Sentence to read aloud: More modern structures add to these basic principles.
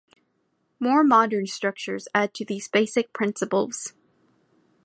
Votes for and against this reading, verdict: 2, 0, accepted